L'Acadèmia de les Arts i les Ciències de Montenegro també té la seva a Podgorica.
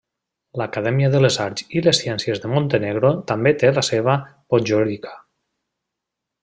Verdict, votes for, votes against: rejected, 0, 2